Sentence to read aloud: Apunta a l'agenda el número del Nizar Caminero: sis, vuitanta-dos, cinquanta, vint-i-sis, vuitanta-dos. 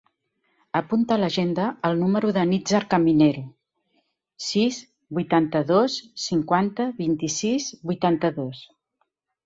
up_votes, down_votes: 0, 2